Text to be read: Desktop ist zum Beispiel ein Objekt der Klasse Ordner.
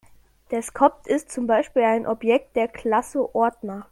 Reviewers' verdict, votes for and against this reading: rejected, 1, 2